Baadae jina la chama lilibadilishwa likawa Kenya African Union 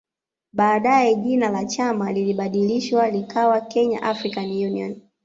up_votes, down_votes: 2, 0